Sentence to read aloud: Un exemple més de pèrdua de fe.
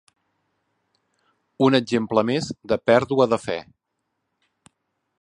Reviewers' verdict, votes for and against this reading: accepted, 4, 0